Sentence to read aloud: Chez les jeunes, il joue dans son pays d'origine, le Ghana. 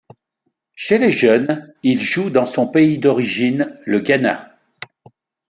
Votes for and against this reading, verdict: 2, 0, accepted